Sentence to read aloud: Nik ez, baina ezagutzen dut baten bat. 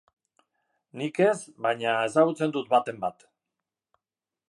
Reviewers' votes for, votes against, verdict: 4, 0, accepted